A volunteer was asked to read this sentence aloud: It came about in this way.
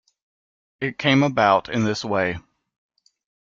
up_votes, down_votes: 2, 0